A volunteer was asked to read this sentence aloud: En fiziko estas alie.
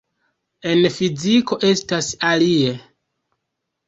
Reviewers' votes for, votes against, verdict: 2, 0, accepted